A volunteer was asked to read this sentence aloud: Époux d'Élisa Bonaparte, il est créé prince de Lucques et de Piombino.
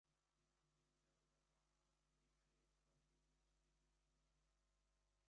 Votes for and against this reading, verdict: 0, 2, rejected